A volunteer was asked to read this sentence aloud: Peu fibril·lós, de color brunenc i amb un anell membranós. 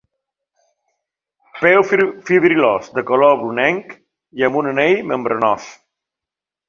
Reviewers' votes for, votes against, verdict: 0, 2, rejected